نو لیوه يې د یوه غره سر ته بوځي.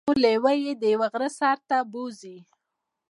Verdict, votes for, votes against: rejected, 0, 2